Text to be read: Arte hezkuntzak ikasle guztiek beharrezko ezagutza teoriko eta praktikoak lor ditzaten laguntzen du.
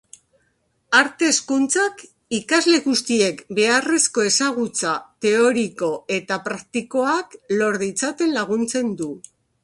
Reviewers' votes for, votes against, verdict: 3, 0, accepted